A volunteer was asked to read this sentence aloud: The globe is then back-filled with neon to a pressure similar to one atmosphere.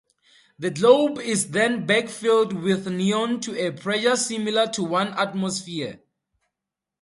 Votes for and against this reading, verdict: 2, 2, rejected